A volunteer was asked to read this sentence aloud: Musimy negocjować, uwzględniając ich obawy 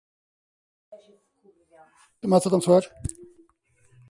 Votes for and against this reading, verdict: 0, 2, rejected